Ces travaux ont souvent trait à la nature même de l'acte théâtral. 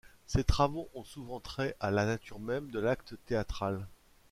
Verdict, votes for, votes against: accepted, 2, 0